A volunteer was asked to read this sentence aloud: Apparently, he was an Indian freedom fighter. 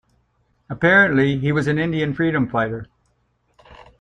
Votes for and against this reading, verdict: 2, 0, accepted